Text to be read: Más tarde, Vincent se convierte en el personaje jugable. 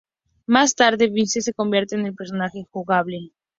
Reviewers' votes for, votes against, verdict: 2, 0, accepted